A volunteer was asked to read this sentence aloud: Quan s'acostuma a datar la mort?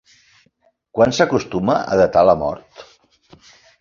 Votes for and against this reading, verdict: 3, 1, accepted